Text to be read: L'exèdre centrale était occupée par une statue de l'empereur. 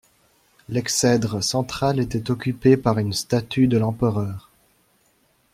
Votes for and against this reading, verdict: 2, 0, accepted